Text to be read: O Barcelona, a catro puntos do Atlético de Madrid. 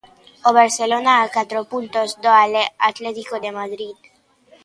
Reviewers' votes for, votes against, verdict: 0, 2, rejected